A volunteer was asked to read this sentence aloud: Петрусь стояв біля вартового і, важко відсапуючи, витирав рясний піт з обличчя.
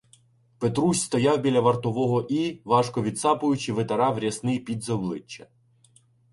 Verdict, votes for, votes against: accepted, 2, 0